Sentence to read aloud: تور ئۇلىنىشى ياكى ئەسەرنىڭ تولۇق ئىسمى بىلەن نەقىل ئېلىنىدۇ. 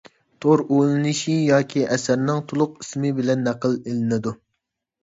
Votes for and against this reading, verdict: 3, 0, accepted